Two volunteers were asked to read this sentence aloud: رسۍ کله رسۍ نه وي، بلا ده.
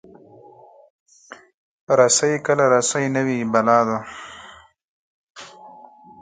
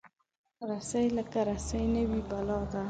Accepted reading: first